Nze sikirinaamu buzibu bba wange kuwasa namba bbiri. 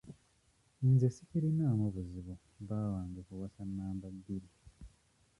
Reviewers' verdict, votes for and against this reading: rejected, 1, 2